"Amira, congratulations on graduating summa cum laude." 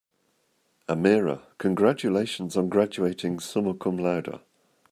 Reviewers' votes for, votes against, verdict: 2, 1, accepted